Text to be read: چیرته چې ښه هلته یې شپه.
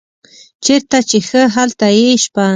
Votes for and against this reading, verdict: 2, 0, accepted